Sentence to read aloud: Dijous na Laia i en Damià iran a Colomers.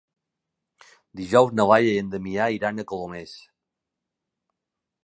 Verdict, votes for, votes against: accepted, 2, 0